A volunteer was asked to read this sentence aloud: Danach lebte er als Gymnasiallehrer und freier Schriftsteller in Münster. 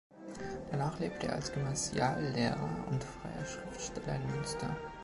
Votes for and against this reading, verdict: 2, 1, accepted